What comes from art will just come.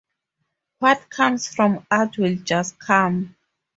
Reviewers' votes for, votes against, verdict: 4, 0, accepted